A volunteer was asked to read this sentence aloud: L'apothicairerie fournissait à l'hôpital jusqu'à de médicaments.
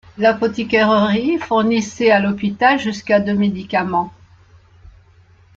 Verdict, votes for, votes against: rejected, 1, 2